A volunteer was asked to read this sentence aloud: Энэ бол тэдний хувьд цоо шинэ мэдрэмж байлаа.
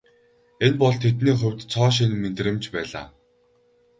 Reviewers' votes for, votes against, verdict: 0, 2, rejected